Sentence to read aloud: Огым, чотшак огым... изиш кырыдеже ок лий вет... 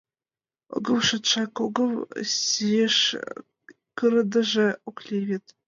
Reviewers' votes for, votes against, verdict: 1, 2, rejected